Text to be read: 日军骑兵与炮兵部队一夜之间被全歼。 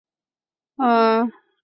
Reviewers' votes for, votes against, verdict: 1, 8, rejected